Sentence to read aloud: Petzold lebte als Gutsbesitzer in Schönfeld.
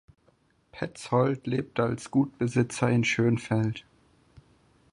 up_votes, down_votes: 2, 4